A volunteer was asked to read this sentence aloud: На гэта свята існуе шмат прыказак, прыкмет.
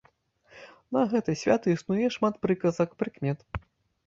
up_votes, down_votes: 2, 0